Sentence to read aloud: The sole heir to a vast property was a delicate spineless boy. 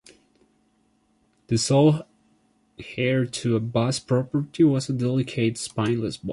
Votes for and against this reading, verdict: 2, 1, accepted